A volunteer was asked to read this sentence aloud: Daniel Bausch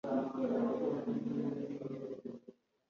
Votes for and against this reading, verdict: 0, 2, rejected